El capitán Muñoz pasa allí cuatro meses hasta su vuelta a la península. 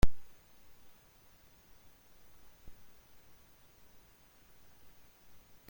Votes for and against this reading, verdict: 0, 2, rejected